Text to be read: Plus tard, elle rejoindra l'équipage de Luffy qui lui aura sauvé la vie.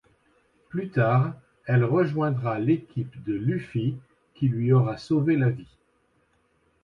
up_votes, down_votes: 0, 2